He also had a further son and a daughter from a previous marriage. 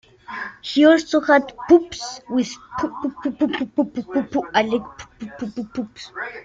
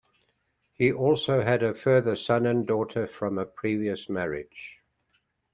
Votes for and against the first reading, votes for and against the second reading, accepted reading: 0, 2, 2, 1, second